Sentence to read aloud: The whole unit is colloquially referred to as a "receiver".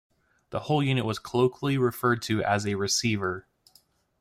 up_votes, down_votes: 0, 2